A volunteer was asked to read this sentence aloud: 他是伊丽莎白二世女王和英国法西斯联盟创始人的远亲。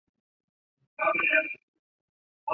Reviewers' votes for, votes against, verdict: 1, 2, rejected